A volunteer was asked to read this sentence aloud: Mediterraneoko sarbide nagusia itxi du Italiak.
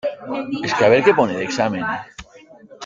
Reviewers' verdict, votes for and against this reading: rejected, 0, 2